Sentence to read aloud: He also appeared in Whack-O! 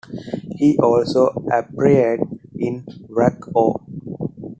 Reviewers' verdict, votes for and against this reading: accepted, 2, 1